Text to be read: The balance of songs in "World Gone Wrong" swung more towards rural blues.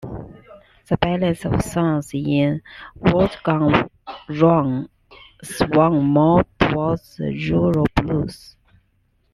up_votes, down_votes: 1, 2